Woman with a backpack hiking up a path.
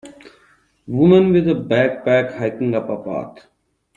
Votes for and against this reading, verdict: 1, 2, rejected